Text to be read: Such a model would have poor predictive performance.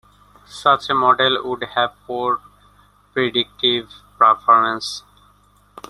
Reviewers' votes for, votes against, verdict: 2, 0, accepted